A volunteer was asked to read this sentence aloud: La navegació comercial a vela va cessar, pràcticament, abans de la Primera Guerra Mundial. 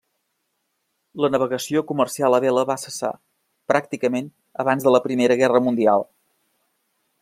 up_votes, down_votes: 1, 2